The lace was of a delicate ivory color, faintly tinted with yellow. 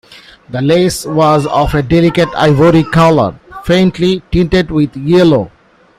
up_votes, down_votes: 0, 2